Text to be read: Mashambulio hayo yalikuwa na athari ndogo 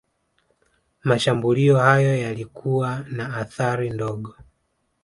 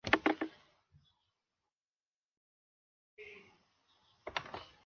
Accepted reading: first